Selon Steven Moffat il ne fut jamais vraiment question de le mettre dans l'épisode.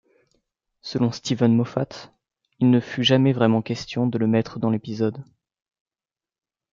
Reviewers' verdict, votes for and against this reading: accepted, 2, 0